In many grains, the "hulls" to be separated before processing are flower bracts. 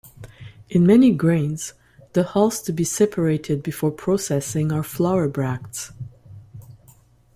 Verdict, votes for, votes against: accepted, 2, 0